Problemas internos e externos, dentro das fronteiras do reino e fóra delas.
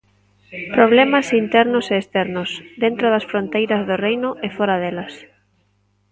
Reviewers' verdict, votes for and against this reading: rejected, 1, 2